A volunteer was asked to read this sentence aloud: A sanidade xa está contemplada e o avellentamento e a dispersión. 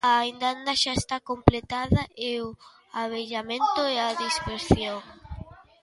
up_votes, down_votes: 0, 2